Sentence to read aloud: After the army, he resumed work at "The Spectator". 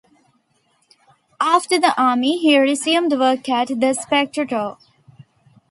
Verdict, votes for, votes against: rejected, 1, 2